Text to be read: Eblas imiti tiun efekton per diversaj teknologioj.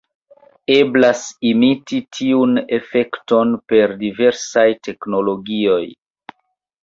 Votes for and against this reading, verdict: 2, 0, accepted